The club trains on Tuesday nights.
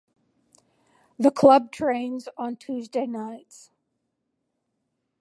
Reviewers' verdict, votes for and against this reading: rejected, 0, 2